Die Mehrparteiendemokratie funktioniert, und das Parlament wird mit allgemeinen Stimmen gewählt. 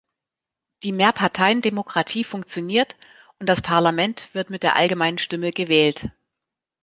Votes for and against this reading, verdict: 1, 2, rejected